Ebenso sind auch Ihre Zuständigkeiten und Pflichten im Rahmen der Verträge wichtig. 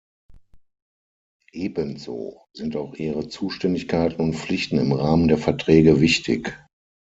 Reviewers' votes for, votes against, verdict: 6, 0, accepted